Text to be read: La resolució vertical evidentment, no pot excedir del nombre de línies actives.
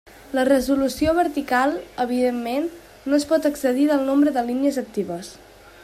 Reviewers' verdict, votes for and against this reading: rejected, 0, 2